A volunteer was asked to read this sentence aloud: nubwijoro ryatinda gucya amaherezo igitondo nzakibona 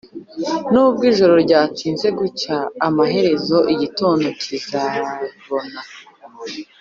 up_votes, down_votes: 0, 3